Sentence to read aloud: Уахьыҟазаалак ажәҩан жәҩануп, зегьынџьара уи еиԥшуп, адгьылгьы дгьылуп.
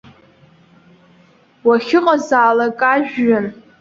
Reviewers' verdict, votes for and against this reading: rejected, 0, 2